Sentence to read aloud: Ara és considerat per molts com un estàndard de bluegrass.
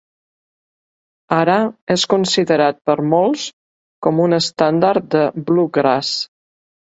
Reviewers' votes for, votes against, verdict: 2, 0, accepted